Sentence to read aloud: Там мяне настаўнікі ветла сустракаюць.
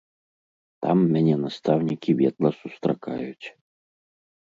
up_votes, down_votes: 3, 0